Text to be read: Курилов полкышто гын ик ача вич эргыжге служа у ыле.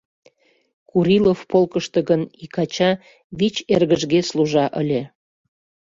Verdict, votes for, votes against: rejected, 1, 2